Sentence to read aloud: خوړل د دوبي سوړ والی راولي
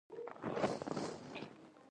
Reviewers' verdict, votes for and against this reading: rejected, 0, 2